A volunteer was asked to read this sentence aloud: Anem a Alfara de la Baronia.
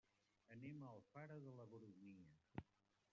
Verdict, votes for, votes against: rejected, 1, 2